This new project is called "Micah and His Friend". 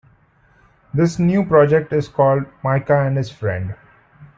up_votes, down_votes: 2, 0